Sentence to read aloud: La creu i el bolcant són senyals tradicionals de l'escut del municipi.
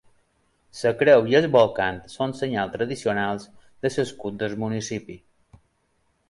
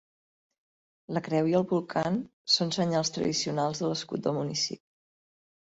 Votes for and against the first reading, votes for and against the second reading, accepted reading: 2, 3, 2, 0, second